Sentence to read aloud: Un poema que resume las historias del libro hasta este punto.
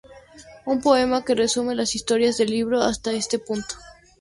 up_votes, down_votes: 0, 2